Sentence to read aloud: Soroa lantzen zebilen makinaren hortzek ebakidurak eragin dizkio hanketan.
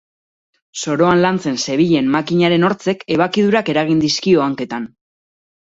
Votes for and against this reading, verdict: 0, 2, rejected